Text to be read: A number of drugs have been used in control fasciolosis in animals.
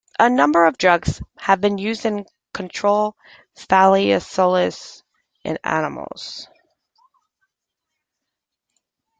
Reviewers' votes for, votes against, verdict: 0, 2, rejected